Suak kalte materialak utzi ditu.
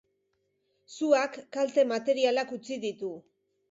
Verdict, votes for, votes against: accepted, 2, 0